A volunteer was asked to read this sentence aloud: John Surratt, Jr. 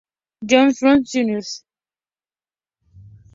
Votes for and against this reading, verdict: 2, 0, accepted